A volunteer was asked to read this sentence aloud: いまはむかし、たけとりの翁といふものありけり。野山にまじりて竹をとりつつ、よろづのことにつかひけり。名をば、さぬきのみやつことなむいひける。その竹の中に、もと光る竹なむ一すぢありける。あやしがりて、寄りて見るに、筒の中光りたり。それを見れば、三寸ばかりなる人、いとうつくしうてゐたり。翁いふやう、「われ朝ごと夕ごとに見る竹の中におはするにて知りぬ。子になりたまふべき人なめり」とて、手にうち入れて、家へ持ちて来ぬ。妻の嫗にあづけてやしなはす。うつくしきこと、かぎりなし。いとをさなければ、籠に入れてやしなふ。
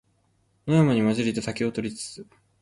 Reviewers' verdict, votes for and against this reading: rejected, 1, 2